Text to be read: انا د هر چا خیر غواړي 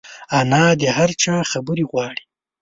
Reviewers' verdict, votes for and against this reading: rejected, 0, 2